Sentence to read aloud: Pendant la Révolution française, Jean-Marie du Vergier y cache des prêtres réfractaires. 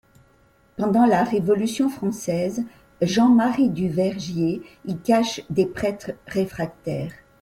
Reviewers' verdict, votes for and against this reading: accepted, 2, 0